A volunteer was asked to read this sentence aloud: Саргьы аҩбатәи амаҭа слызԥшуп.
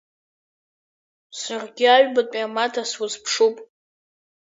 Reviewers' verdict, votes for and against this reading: accepted, 2, 0